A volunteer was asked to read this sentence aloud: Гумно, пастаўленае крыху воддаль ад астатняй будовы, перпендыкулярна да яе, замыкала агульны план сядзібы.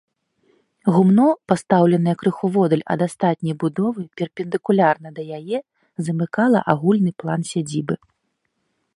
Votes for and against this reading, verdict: 2, 0, accepted